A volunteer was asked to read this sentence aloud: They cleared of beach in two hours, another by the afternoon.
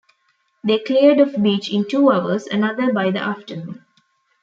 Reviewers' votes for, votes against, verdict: 1, 2, rejected